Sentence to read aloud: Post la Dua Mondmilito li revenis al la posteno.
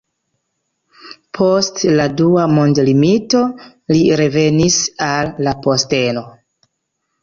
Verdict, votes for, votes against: rejected, 1, 2